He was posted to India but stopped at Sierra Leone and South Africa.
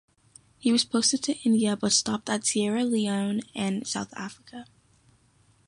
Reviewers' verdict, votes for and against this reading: accepted, 2, 0